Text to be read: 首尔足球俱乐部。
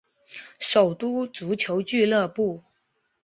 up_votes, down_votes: 1, 2